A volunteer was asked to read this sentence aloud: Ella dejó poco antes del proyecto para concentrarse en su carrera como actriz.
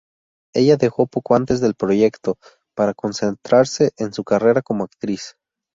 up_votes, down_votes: 2, 0